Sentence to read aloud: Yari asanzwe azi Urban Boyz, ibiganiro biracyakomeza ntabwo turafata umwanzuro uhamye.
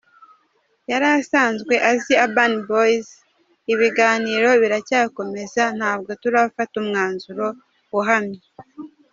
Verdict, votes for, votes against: rejected, 0, 2